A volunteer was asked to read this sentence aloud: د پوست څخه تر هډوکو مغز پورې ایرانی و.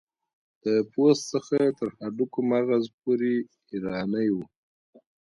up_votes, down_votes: 2, 0